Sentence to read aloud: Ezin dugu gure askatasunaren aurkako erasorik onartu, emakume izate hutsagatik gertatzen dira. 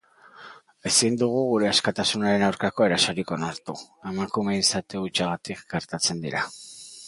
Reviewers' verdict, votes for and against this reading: accepted, 3, 0